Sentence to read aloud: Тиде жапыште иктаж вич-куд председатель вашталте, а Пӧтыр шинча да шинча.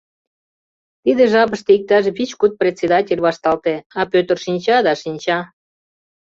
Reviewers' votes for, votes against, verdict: 2, 0, accepted